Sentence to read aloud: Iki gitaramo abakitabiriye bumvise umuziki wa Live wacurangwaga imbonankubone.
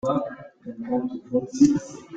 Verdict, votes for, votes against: rejected, 0, 2